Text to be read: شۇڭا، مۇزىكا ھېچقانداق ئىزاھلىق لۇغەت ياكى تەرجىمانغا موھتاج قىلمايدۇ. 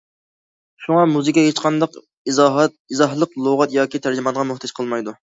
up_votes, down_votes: 0, 2